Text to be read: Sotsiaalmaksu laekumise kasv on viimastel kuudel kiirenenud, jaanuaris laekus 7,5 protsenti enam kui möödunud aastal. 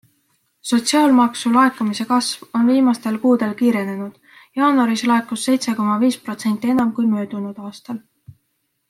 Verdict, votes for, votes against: rejected, 0, 2